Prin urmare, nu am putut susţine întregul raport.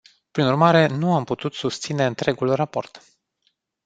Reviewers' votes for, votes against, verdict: 2, 0, accepted